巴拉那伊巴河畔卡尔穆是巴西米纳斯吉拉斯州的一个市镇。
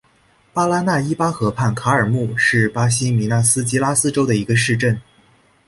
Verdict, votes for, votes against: accepted, 4, 0